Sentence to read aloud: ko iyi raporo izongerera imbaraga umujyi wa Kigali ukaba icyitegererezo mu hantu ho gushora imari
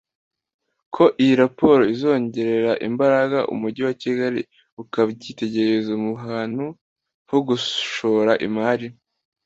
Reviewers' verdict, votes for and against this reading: accepted, 2, 0